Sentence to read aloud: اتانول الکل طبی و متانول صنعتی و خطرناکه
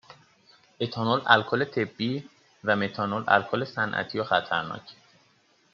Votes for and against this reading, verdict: 1, 2, rejected